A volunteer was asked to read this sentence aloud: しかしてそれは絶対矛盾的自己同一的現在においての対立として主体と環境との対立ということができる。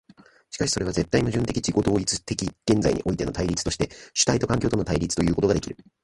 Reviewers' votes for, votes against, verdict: 1, 2, rejected